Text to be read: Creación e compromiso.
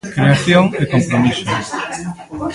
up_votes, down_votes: 0, 2